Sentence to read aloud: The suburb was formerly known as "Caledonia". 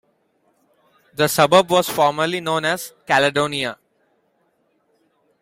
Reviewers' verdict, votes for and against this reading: accepted, 2, 0